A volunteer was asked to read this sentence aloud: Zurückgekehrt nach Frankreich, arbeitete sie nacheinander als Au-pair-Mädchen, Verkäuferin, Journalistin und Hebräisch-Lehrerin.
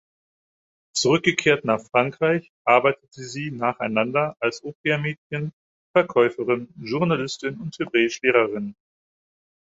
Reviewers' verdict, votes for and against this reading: accepted, 4, 0